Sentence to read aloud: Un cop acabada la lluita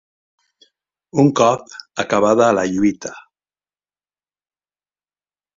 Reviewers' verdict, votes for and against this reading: accepted, 4, 1